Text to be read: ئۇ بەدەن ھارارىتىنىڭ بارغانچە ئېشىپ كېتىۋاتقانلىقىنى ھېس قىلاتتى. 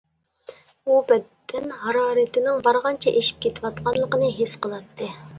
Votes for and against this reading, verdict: 1, 2, rejected